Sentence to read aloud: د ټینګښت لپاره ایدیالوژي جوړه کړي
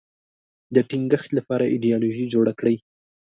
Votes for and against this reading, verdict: 1, 2, rejected